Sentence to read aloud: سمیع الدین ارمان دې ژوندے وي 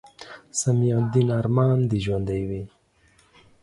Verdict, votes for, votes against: accepted, 2, 0